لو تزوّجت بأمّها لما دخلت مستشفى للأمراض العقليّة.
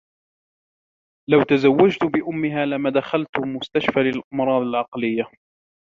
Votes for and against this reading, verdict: 1, 2, rejected